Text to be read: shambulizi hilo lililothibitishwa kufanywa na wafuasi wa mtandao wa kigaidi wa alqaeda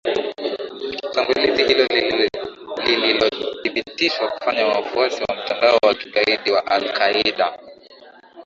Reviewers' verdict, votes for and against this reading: accepted, 3, 2